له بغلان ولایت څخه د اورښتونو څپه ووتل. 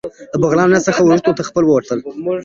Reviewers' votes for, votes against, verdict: 0, 2, rejected